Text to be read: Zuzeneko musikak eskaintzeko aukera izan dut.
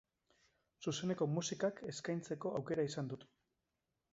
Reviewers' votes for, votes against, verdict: 2, 0, accepted